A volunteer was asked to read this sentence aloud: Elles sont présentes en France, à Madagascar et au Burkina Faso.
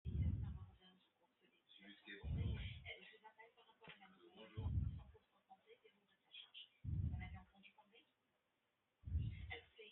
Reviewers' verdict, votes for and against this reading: rejected, 0, 2